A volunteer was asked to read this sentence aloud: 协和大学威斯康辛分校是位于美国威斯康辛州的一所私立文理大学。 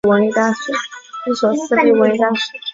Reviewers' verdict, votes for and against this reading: rejected, 0, 2